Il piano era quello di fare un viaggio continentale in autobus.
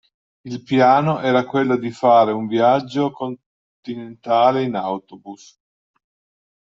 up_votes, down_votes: 1, 2